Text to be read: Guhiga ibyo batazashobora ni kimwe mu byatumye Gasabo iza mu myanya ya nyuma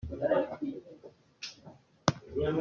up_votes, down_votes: 0, 2